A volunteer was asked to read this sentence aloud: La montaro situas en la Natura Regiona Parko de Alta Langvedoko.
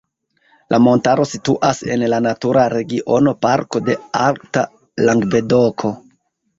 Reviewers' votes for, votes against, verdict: 2, 1, accepted